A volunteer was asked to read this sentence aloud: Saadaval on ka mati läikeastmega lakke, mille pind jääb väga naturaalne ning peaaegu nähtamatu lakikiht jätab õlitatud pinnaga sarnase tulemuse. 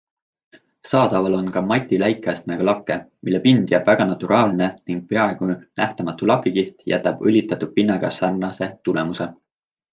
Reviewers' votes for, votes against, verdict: 2, 0, accepted